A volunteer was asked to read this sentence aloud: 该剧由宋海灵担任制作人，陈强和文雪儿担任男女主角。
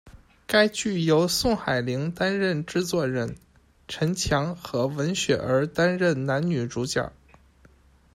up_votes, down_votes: 1, 2